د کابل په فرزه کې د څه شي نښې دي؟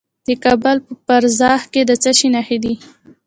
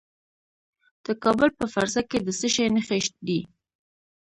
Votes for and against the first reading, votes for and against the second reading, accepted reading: 0, 2, 2, 0, second